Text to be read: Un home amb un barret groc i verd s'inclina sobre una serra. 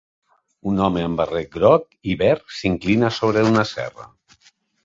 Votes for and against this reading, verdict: 1, 2, rejected